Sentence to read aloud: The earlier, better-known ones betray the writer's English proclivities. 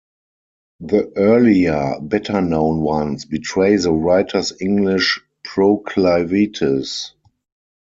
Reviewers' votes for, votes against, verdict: 2, 4, rejected